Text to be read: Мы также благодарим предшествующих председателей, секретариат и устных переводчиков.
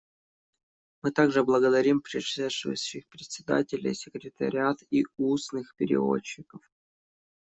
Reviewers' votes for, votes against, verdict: 0, 2, rejected